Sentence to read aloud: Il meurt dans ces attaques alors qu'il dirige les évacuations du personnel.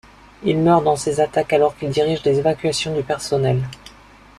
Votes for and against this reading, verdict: 1, 2, rejected